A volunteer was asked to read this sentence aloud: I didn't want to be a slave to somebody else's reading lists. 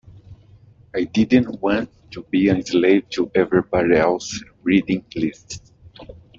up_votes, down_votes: 0, 2